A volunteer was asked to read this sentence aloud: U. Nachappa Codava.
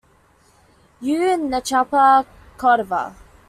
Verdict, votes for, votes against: accepted, 2, 0